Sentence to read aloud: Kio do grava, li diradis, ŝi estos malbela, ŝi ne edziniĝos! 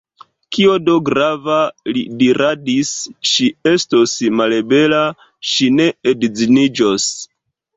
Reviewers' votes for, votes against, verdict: 1, 3, rejected